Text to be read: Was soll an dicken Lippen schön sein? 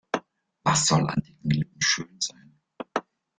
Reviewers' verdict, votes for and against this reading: rejected, 1, 2